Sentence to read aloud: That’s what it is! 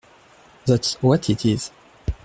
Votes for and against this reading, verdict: 2, 0, accepted